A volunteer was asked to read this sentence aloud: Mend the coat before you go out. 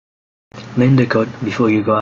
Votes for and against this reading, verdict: 1, 2, rejected